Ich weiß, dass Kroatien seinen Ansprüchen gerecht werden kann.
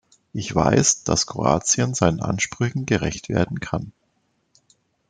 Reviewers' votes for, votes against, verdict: 3, 0, accepted